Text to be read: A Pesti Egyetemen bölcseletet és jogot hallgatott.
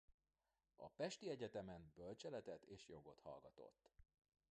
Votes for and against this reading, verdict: 1, 2, rejected